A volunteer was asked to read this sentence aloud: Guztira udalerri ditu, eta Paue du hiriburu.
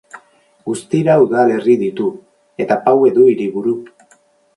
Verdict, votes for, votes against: rejected, 2, 2